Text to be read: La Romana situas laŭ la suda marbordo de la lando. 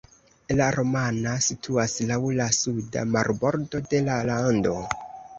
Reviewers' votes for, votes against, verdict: 2, 0, accepted